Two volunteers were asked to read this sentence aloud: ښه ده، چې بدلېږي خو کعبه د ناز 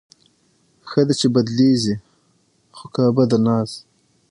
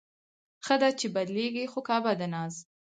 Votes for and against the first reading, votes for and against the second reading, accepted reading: 6, 3, 2, 4, first